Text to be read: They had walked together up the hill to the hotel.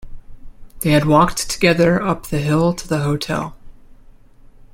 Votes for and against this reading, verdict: 2, 0, accepted